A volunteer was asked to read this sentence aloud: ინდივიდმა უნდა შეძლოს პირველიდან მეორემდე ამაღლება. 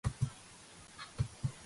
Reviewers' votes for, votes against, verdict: 1, 2, rejected